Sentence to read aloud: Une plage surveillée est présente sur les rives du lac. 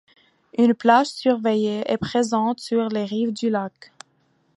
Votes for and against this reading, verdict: 2, 0, accepted